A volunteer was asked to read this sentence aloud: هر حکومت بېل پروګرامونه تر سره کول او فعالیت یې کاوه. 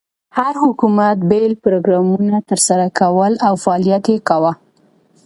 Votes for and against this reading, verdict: 2, 0, accepted